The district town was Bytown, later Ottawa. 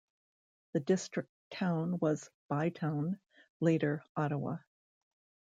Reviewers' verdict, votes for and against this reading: accepted, 2, 1